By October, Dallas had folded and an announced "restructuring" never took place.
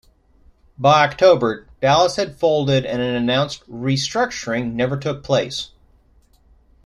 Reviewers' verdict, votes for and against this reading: accepted, 2, 0